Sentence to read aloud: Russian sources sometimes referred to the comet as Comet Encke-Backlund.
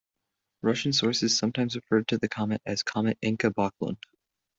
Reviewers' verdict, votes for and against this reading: accepted, 2, 0